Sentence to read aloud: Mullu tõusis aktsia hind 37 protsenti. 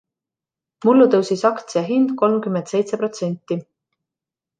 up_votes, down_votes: 0, 2